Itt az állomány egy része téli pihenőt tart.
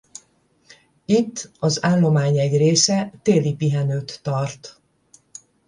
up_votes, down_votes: 10, 0